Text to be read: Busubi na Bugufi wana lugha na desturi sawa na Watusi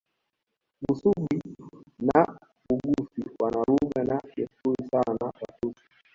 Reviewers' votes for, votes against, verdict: 0, 2, rejected